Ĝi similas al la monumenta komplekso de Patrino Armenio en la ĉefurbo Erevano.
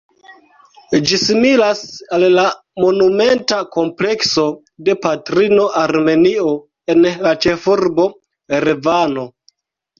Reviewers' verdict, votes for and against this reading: rejected, 1, 2